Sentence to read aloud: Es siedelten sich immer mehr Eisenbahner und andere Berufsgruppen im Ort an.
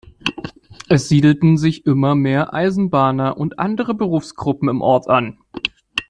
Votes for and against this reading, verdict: 2, 0, accepted